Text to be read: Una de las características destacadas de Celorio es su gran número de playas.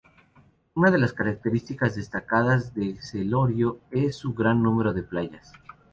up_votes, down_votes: 2, 0